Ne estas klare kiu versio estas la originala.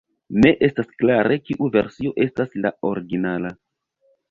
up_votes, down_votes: 0, 2